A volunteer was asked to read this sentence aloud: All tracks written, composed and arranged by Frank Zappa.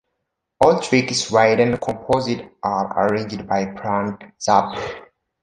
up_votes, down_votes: 0, 3